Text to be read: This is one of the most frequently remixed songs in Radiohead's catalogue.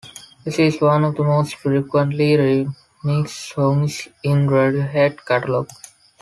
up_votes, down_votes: 2, 3